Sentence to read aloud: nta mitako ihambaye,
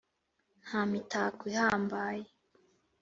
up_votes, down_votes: 2, 0